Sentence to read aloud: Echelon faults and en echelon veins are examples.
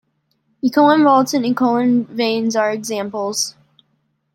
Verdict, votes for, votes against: rejected, 0, 2